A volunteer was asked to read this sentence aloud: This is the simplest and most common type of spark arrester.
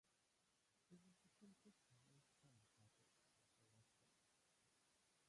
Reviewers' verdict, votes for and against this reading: rejected, 0, 2